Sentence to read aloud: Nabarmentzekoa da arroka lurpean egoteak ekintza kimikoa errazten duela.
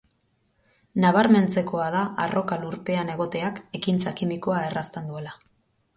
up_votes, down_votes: 4, 0